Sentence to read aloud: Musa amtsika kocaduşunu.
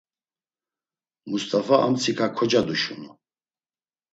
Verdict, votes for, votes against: rejected, 1, 2